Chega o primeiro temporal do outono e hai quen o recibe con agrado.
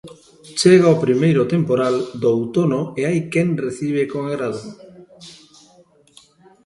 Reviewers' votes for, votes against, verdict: 0, 2, rejected